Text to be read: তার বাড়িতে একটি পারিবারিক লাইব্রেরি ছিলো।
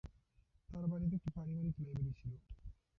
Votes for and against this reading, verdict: 0, 2, rejected